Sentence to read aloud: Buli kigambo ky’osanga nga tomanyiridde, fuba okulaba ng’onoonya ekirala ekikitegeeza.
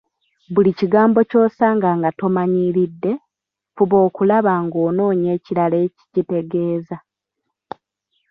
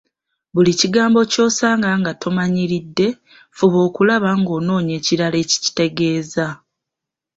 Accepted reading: second